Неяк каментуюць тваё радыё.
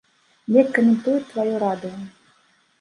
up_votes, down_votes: 1, 2